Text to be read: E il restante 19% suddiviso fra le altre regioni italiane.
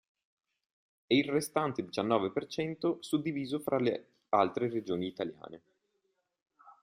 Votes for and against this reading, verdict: 0, 2, rejected